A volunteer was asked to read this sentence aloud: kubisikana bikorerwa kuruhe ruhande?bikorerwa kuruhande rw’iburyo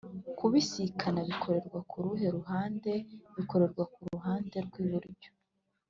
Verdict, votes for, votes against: accepted, 3, 1